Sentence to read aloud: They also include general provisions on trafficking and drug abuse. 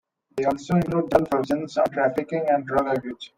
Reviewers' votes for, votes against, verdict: 1, 2, rejected